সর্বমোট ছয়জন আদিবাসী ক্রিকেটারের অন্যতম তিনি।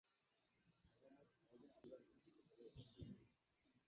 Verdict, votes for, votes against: rejected, 0, 9